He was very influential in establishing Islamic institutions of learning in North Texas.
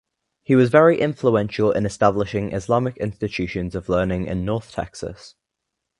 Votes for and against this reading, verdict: 2, 0, accepted